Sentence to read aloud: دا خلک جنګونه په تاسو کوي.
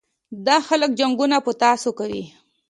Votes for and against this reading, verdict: 2, 0, accepted